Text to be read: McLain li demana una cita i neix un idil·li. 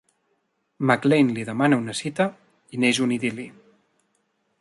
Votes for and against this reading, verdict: 2, 0, accepted